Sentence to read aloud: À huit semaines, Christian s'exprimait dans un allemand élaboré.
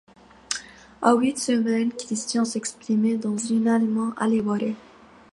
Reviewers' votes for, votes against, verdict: 1, 2, rejected